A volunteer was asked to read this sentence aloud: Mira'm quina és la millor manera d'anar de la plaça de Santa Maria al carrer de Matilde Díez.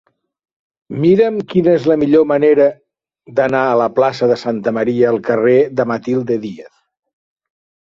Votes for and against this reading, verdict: 0, 2, rejected